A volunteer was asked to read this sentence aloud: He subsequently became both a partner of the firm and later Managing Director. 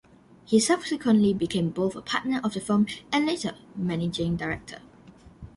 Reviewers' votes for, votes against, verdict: 2, 1, accepted